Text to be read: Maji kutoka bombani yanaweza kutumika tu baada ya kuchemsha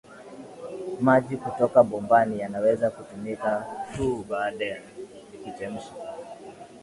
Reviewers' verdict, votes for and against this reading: accepted, 2, 1